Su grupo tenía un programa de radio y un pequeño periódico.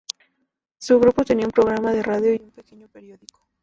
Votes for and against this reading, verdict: 0, 2, rejected